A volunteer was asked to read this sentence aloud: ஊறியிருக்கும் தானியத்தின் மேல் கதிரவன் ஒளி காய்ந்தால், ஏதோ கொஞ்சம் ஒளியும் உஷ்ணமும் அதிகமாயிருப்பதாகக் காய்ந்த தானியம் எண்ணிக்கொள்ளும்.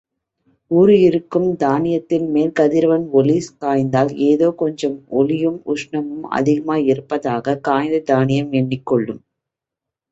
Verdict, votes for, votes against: accepted, 3, 0